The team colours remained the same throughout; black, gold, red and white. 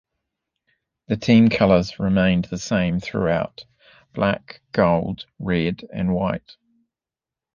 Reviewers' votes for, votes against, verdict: 2, 0, accepted